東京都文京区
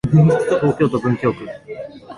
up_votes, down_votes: 0, 2